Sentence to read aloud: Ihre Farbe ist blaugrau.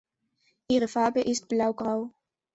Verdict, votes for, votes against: accepted, 2, 0